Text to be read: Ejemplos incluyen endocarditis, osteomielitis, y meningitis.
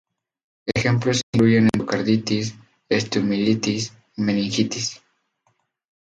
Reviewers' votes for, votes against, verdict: 0, 2, rejected